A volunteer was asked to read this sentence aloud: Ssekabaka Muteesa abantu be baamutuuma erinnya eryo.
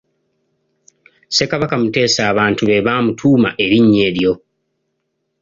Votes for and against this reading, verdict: 2, 0, accepted